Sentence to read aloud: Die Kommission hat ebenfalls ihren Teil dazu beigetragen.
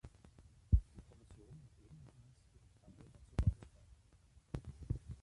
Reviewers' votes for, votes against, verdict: 0, 2, rejected